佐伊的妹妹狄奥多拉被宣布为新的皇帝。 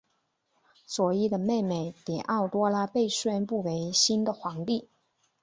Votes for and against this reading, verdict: 5, 0, accepted